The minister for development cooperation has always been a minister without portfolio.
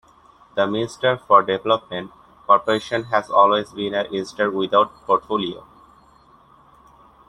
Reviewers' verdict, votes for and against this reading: accepted, 2, 1